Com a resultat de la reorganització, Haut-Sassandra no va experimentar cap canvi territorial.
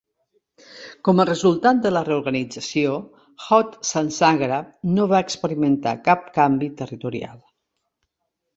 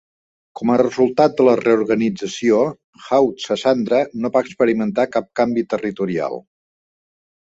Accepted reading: second